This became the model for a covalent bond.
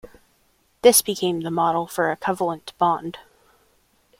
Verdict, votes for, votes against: rejected, 1, 2